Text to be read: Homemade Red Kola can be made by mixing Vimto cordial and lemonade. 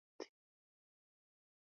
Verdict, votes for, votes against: rejected, 0, 2